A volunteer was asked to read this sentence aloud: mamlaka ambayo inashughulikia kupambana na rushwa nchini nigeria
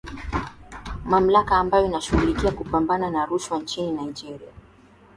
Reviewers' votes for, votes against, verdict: 2, 0, accepted